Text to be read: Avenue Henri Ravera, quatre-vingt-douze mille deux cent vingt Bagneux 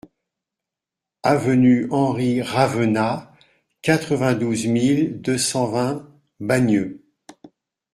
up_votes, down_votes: 0, 2